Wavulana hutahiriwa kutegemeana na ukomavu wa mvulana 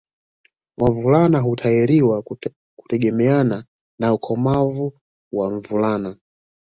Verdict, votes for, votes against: rejected, 1, 2